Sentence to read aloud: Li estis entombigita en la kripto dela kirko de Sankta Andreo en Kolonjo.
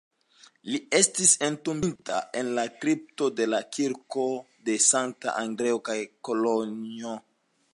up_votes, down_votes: 3, 1